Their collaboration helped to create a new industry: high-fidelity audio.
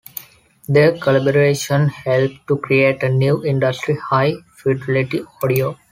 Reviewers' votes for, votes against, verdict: 2, 0, accepted